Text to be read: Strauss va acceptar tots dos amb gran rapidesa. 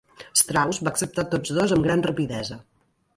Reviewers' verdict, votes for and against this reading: accepted, 2, 0